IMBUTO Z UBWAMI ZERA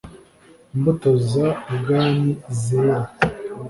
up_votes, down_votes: 2, 0